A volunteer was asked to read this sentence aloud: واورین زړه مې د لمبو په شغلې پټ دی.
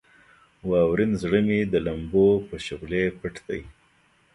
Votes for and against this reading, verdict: 2, 0, accepted